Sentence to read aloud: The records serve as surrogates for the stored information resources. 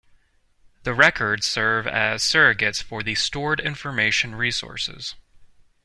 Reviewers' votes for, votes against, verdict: 2, 0, accepted